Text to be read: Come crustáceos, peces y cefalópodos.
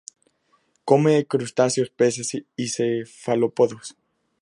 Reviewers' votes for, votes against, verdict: 0, 2, rejected